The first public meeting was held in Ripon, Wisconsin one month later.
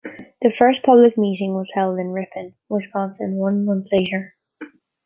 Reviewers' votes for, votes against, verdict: 2, 0, accepted